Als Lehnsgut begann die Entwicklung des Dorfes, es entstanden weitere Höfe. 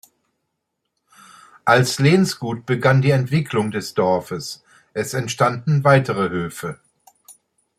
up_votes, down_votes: 2, 0